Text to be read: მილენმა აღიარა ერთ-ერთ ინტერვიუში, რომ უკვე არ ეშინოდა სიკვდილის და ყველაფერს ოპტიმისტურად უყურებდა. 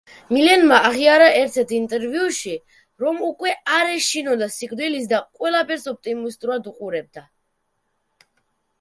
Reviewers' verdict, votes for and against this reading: rejected, 0, 2